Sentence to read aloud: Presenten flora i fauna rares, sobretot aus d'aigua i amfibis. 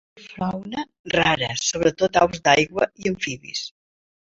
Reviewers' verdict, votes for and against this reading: rejected, 0, 2